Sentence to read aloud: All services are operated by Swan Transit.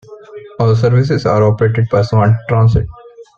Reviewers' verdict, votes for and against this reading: accepted, 3, 0